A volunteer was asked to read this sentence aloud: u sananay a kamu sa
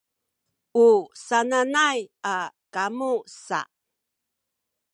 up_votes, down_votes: 1, 2